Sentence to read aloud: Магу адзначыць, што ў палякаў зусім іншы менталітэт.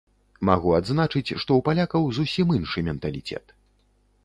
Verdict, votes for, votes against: rejected, 0, 2